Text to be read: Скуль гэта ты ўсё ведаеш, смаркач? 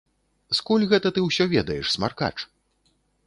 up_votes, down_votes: 2, 0